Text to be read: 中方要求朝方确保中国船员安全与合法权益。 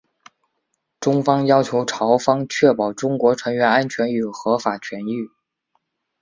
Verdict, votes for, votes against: accepted, 2, 0